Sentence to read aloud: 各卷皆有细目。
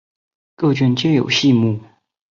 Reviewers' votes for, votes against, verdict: 3, 0, accepted